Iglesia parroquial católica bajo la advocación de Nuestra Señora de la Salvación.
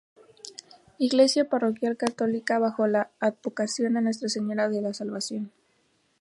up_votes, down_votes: 2, 0